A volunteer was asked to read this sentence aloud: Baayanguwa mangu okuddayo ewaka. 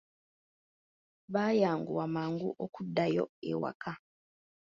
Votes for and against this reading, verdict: 2, 0, accepted